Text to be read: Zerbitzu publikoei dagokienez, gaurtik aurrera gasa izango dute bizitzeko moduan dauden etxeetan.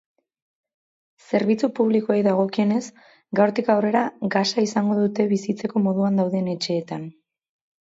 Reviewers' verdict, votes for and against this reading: accepted, 4, 0